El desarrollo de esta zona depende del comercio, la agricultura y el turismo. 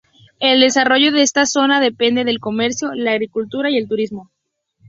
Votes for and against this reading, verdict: 2, 0, accepted